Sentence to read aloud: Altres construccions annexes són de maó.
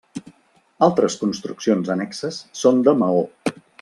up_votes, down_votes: 3, 0